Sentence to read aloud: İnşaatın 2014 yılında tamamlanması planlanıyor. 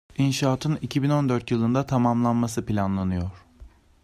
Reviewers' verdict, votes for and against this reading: rejected, 0, 2